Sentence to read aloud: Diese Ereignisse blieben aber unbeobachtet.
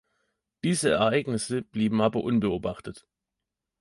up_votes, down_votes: 2, 0